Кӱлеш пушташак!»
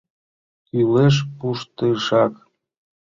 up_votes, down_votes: 1, 2